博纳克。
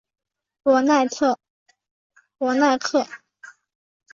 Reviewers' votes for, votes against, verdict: 3, 2, accepted